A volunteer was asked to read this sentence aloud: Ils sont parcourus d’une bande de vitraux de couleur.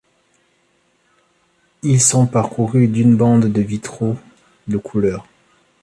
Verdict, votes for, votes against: accepted, 2, 0